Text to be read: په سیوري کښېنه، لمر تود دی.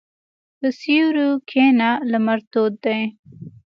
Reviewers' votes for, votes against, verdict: 2, 0, accepted